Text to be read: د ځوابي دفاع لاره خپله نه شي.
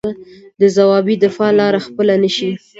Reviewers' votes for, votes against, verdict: 3, 0, accepted